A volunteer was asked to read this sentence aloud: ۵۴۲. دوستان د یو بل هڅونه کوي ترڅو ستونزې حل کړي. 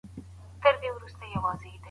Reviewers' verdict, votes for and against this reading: rejected, 0, 2